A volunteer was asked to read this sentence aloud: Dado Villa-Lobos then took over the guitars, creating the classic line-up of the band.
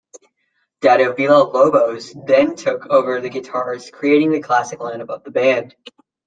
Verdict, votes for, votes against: accepted, 2, 1